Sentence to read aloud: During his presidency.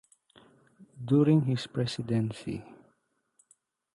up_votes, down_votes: 2, 0